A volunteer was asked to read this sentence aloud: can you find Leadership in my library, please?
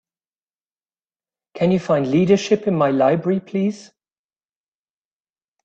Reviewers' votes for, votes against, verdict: 2, 0, accepted